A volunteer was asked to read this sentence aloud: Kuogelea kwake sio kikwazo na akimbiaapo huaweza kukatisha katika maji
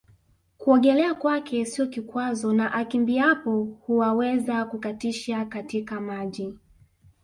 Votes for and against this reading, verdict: 0, 2, rejected